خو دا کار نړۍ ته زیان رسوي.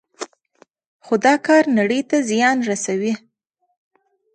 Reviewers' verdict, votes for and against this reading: accepted, 2, 0